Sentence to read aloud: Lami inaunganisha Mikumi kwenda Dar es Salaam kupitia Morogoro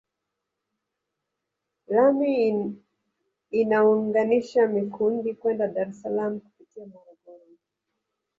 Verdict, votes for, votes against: rejected, 1, 2